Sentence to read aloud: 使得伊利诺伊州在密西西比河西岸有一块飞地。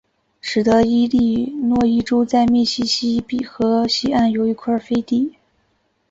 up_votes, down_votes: 2, 0